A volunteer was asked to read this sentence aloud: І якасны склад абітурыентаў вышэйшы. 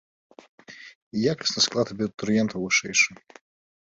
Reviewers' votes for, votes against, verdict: 1, 2, rejected